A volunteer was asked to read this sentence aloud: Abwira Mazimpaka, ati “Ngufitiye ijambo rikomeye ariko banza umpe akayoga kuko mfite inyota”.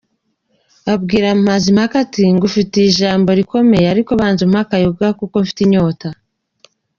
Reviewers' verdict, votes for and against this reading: accepted, 2, 1